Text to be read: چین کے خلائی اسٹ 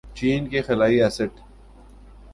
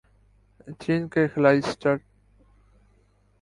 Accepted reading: first